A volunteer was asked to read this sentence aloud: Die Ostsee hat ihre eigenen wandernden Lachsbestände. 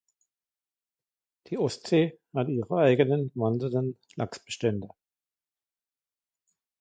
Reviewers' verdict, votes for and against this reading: accepted, 2, 1